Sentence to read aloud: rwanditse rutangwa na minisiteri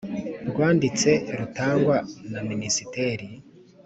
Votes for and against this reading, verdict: 3, 0, accepted